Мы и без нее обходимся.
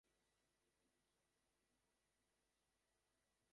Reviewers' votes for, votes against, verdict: 0, 2, rejected